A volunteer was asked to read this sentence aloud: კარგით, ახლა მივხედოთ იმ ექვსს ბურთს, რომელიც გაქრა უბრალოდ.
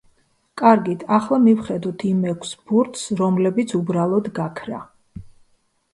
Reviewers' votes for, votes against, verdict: 0, 2, rejected